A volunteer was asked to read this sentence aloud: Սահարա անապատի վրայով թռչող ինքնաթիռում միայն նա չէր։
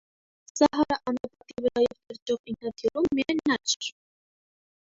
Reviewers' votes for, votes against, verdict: 0, 2, rejected